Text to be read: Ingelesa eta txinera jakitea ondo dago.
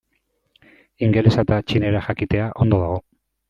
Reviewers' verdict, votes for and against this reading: accepted, 2, 0